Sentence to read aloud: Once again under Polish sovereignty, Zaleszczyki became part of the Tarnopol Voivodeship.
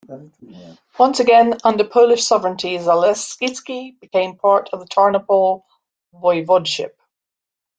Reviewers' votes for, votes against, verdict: 1, 2, rejected